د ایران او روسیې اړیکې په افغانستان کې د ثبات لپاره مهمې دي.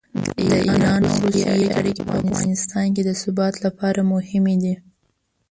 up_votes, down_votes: 0, 2